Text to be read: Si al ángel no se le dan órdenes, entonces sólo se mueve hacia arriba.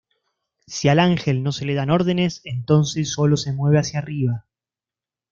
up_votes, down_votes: 2, 0